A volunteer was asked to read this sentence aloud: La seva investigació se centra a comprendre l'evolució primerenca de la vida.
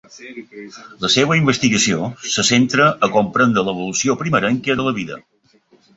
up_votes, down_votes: 2, 0